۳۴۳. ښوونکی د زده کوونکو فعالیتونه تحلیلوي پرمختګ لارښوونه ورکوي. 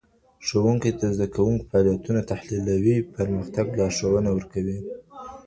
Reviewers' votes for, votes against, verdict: 0, 2, rejected